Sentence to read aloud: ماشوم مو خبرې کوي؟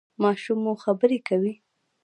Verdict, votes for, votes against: accepted, 2, 0